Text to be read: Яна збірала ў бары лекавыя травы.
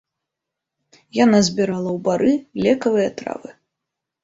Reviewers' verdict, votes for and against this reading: accepted, 2, 0